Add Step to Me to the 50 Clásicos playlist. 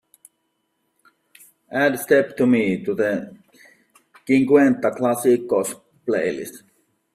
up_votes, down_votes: 0, 2